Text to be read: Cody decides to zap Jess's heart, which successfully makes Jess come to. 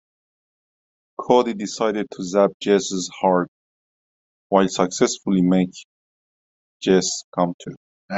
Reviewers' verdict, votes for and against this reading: rejected, 1, 2